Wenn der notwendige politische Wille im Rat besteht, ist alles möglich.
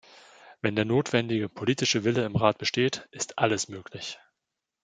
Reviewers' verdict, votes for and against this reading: accepted, 2, 0